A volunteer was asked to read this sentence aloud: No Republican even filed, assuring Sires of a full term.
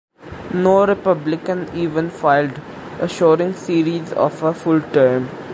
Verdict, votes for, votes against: accepted, 2, 0